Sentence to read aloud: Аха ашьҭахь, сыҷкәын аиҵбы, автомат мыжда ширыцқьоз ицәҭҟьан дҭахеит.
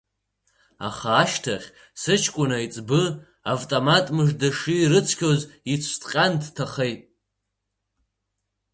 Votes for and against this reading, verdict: 2, 1, accepted